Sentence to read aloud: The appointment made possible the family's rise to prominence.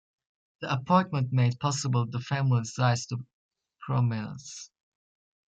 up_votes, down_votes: 0, 2